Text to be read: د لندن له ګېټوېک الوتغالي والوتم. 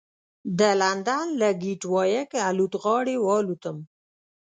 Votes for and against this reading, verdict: 1, 2, rejected